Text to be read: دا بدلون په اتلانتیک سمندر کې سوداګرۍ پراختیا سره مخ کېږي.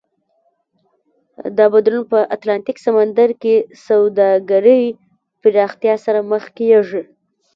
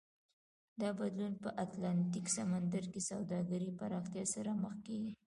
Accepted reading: first